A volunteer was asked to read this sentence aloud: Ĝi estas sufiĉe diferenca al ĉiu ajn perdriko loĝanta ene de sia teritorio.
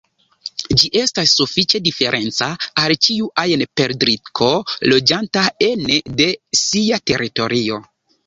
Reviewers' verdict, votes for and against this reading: rejected, 1, 2